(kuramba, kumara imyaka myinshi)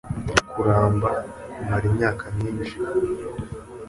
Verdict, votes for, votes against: accepted, 2, 0